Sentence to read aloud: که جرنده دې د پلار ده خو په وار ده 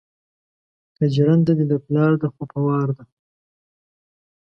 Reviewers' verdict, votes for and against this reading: accepted, 2, 0